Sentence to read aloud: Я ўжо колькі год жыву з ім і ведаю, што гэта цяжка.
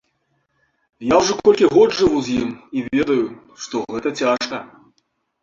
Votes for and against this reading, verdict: 2, 1, accepted